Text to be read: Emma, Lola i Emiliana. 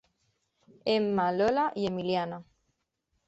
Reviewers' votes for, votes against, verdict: 2, 0, accepted